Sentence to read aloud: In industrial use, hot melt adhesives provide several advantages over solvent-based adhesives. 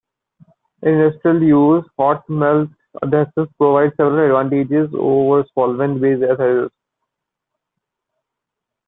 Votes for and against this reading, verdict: 0, 2, rejected